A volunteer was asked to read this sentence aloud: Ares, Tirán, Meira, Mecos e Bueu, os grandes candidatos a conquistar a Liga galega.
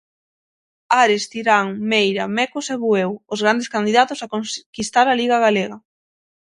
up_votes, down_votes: 3, 6